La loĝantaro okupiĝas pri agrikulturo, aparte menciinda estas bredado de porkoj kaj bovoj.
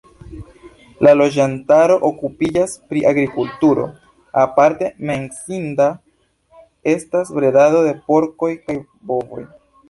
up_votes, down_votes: 2, 0